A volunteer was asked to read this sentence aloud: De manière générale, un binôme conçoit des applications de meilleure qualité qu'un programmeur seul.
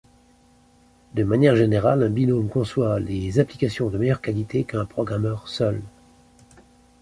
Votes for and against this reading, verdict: 1, 2, rejected